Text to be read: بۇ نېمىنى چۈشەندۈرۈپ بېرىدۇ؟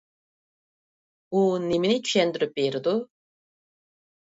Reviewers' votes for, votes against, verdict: 1, 2, rejected